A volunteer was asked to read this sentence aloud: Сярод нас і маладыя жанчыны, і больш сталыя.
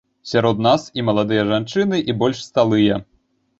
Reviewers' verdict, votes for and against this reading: rejected, 0, 2